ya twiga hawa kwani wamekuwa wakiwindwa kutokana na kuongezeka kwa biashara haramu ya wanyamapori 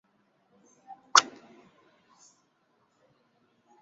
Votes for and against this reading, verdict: 0, 3, rejected